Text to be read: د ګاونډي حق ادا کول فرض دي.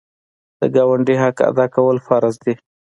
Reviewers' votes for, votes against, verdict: 2, 0, accepted